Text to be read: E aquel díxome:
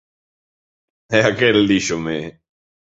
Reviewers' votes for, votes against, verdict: 2, 0, accepted